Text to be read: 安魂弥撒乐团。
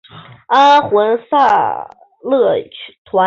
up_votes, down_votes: 2, 3